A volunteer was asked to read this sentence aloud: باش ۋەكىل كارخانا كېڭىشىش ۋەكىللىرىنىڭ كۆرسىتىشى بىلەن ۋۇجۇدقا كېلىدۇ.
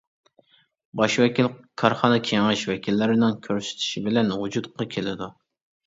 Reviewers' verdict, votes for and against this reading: accepted, 2, 0